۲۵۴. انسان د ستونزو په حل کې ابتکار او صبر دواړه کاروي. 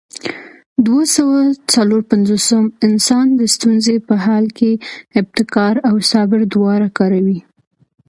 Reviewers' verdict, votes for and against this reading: rejected, 0, 2